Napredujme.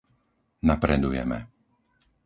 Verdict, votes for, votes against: rejected, 0, 4